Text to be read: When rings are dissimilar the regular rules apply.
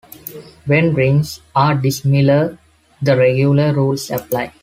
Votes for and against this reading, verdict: 2, 0, accepted